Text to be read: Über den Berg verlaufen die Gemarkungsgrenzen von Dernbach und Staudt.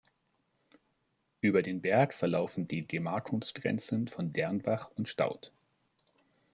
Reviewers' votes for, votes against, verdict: 2, 0, accepted